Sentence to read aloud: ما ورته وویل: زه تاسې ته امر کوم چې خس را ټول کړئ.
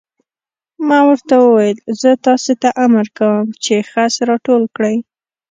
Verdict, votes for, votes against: accepted, 2, 0